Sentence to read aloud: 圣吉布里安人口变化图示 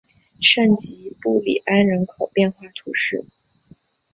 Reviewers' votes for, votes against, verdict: 3, 0, accepted